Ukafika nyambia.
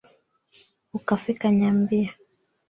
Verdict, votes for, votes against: accepted, 2, 1